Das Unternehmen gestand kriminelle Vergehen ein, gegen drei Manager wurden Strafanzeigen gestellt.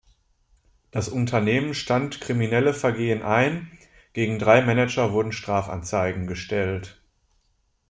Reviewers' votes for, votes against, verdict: 0, 2, rejected